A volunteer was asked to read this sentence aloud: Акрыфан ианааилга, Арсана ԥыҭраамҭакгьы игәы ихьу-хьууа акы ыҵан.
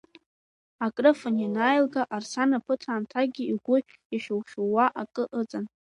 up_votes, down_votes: 5, 3